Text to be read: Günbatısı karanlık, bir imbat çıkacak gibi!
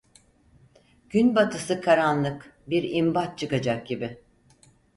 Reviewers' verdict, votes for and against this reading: accepted, 4, 0